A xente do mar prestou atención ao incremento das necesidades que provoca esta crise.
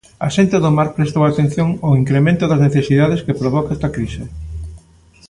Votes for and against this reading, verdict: 2, 0, accepted